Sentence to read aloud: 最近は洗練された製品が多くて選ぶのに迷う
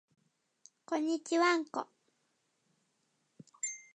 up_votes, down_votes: 0, 2